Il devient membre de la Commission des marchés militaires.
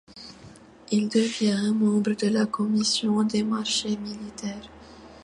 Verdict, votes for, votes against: accepted, 2, 0